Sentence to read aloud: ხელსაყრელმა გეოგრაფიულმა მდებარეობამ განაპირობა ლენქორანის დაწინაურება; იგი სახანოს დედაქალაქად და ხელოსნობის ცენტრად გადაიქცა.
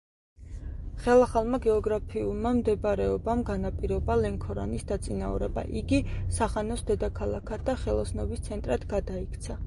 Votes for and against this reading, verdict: 2, 0, accepted